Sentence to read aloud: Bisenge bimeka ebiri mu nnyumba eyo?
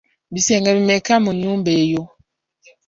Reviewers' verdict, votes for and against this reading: rejected, 1, 2